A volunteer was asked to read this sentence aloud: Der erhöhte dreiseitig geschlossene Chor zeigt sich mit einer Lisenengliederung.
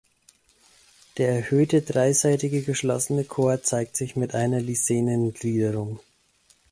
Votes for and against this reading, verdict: 0, 2, rejected